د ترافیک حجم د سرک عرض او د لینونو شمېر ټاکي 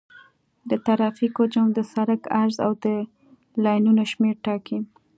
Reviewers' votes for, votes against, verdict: 2, 0, accepted